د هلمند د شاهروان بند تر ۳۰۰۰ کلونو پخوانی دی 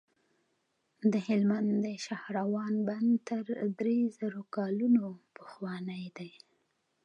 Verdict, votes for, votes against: rejected, 0, 2